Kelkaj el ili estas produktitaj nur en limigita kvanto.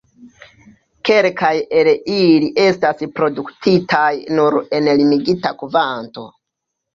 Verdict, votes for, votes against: rejected, 0, 2